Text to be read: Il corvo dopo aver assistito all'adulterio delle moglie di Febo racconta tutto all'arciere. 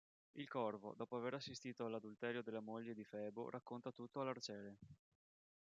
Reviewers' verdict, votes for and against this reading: rejected, 3, 4